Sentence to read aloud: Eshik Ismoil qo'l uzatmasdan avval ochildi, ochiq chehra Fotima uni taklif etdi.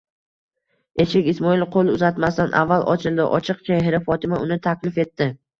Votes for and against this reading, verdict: 3, 0, accepted